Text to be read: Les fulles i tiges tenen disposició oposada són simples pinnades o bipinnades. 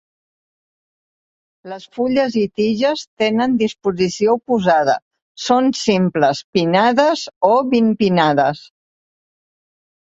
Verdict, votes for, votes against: rejected, 1, 2